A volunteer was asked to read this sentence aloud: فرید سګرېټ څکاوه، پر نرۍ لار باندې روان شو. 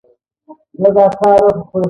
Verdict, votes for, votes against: rejected, 1, 2